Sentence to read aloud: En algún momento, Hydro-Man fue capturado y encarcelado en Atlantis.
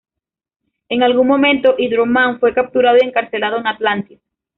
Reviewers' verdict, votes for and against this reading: accepted, 2, 1